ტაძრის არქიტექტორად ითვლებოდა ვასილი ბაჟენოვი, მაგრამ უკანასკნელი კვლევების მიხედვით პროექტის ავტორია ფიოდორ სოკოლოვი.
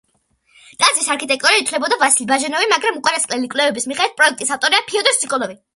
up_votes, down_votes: 2, 0